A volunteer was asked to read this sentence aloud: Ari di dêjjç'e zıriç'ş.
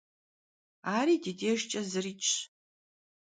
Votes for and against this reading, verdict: 2, 0, accepted